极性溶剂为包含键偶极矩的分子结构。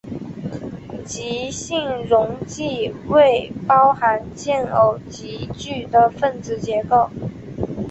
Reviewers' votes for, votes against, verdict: 3, 1, accepted